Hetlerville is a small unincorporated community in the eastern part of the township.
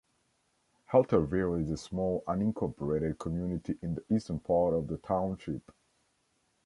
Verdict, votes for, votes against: rejected, 1, 2